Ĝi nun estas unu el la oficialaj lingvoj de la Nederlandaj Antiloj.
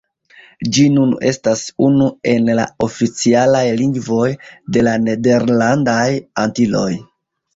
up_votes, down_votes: 0, 2